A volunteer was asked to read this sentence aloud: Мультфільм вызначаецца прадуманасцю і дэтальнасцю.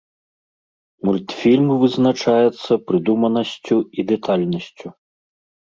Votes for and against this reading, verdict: 0, 2, rejected